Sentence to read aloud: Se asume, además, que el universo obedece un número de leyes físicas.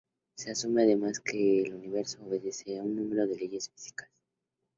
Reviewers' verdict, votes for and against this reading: accepted, 2, 0